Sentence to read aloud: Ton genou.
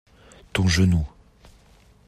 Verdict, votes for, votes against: accepted, 2, 0